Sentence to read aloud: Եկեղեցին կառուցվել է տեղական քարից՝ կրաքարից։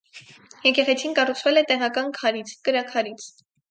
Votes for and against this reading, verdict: 4, 0, accepted